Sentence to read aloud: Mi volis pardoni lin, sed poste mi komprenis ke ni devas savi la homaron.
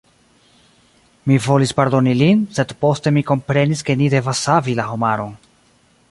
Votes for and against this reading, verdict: 0, 2, rejected